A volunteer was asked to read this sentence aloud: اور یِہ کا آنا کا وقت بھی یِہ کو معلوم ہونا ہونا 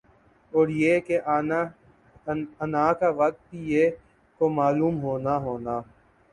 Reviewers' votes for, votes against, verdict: 8, 3, accepted